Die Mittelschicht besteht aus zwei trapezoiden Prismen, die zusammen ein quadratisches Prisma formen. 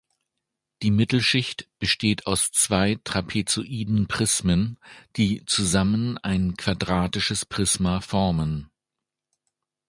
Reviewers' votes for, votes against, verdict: 2, 0, accepted